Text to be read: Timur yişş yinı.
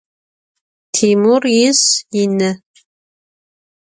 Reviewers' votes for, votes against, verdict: 0, 2, rejected